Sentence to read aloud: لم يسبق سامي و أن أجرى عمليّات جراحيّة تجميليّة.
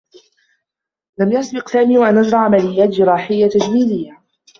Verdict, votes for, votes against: rejected, 0, 2